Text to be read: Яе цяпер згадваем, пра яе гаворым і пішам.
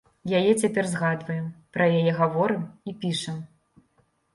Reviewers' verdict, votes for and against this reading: accepted, 2, 0